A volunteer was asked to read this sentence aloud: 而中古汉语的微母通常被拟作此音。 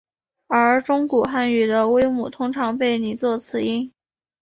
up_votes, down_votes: 2, 1